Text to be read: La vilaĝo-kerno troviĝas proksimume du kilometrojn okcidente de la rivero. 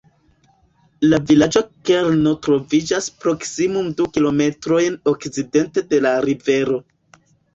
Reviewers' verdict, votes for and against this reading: rejected, 1, 2